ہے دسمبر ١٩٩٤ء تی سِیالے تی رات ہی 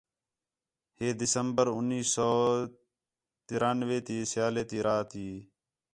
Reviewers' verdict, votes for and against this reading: rejected, 0, 2